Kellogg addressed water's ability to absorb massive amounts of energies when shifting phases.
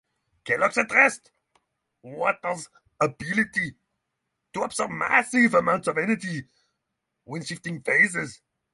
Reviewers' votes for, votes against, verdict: 3, 3, rejected